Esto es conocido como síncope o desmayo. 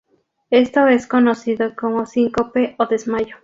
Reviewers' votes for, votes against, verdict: 0, 2, rejected